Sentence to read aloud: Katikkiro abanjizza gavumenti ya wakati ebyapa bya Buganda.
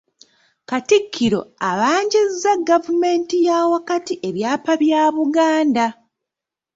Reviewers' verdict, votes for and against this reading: accepted, 2, 1